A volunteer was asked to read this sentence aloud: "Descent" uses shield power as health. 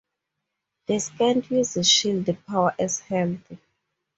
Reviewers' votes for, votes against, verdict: 2, 2, rejected